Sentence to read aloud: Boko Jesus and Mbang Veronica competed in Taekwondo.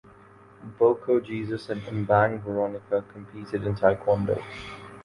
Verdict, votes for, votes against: accepted, 2, 0